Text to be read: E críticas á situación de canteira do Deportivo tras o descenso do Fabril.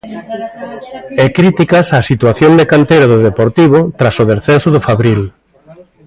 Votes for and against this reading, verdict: 3, 1, accepted